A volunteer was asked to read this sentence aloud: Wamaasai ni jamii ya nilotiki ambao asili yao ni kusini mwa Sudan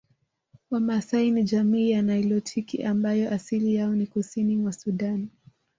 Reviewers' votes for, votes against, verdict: 2, 0, accepted